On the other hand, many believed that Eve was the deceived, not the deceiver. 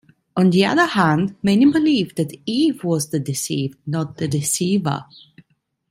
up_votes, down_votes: 1, 2